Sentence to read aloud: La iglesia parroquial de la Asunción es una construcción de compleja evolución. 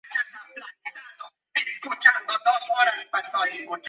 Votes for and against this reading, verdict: 0, 2, rejected